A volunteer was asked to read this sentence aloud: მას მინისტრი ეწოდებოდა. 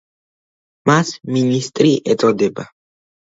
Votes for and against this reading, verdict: 0, 2, rejected